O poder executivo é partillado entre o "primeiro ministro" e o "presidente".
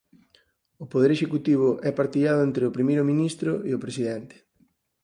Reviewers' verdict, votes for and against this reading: accepted, 4, 0